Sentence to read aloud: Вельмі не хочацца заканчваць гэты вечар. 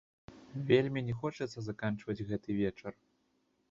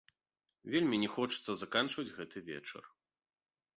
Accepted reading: second